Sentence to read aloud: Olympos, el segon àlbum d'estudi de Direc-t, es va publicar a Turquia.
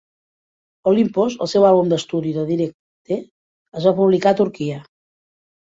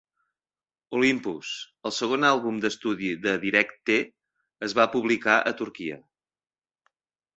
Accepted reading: second